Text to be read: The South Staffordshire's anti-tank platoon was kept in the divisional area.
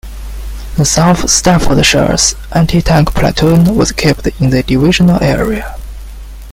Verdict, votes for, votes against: rejected, 1, 2